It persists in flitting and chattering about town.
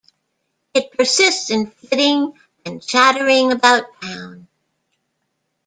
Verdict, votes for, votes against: accepted, 2, 0